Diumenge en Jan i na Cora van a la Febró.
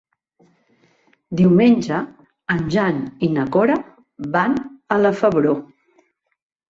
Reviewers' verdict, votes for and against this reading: accepted, 2, 0